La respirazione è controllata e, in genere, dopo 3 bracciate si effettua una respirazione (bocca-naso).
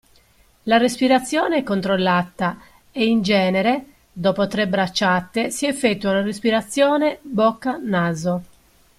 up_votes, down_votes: 0, 2